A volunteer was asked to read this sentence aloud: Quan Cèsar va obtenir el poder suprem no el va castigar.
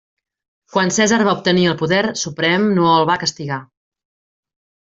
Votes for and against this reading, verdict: 3, 0, accepted